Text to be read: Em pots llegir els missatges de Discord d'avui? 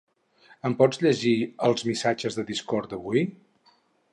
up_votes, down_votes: 4, 0